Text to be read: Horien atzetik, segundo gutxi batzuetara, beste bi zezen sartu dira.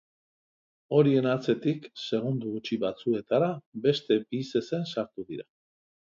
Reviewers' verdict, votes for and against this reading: accepted, 2, 1